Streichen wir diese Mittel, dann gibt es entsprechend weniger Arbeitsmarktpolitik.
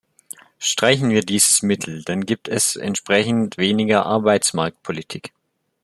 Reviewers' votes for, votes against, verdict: 0, 2, rejected